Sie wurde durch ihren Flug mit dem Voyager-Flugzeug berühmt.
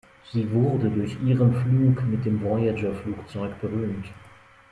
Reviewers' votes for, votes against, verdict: 2, 0, accepted